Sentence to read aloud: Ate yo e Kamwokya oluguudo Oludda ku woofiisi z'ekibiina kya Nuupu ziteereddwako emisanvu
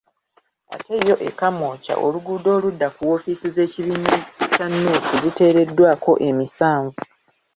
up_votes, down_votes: 1, 2